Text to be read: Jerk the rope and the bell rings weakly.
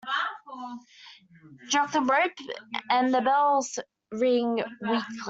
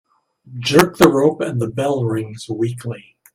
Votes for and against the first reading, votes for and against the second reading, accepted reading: 0, 2, 2, 0, second